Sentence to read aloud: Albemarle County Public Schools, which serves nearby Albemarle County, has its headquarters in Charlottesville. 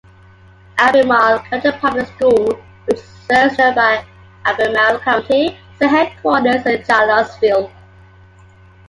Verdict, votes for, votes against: rejected, 1, 2